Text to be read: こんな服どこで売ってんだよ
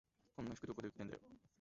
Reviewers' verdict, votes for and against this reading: rejected, 1, 2